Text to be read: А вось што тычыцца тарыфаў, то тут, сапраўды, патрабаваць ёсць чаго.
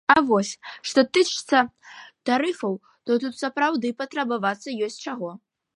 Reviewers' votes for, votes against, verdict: 1, 2, rejected